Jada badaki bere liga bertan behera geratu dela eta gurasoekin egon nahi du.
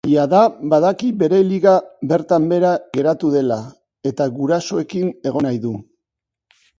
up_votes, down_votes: 2, 0